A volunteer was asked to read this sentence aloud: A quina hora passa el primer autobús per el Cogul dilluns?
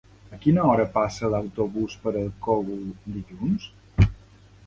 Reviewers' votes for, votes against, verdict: 1, 2, rejected